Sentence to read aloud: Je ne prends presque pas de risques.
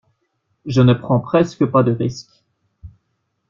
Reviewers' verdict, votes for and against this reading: accepted, 2, 0